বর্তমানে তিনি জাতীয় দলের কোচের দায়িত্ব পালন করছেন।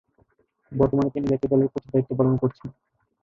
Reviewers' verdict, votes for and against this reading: rejected, 0, 2